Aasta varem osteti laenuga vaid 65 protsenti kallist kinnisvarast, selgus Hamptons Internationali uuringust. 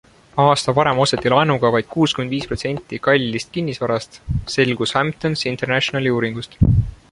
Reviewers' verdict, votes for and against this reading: rejected, 0, 2